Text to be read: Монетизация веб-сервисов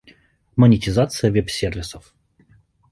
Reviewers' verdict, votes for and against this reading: accepted, 2, 0